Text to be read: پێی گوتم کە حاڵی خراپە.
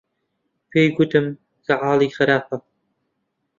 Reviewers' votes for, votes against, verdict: 2, 0, accepted